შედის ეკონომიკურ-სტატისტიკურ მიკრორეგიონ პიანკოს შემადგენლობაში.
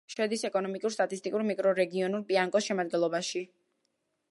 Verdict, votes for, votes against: rejected, 0, 2